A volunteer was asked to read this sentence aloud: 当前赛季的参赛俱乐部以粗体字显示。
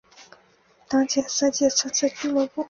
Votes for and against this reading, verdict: 1, 5, rejected